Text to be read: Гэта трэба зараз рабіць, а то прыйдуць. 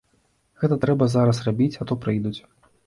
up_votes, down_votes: 2, 0